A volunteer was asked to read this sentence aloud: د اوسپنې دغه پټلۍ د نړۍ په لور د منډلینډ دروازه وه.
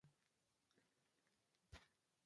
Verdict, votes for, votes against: rejected, 1, 2